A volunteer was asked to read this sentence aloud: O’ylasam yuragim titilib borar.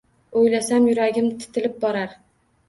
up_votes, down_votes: 1, 2